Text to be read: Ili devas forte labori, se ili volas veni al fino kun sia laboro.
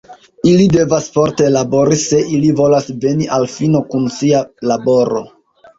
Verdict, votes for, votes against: rejected, 0, 2